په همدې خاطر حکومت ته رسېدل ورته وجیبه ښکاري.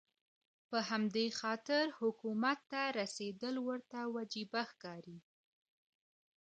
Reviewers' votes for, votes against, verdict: 0, 2, rejected